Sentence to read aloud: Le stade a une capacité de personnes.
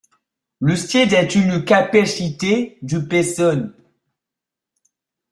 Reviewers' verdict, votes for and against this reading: rejected, 0, 2